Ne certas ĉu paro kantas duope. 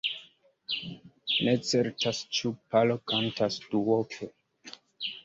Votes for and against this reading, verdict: 2, 0, accepted